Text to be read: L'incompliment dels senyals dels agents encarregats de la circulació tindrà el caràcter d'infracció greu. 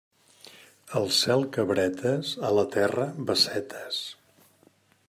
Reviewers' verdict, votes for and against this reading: rejected, 1, 2